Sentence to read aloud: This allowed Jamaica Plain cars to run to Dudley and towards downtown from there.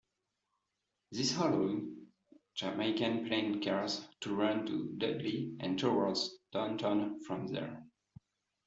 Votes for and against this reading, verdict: 0, 2, rejected